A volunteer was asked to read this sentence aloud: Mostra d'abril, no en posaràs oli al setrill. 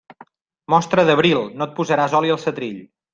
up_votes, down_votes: 0, 2